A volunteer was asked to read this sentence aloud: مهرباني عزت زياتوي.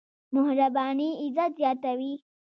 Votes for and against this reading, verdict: 2, 0, accepted